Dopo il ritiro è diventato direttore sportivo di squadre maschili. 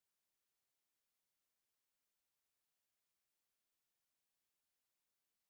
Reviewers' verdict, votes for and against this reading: rejected, 0, 2